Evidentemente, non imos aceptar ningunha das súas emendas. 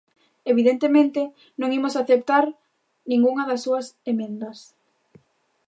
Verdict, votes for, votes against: accepted, 2, 0